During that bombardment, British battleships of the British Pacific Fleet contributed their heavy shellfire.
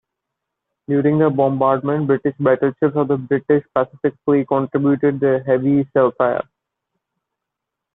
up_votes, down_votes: 2, 0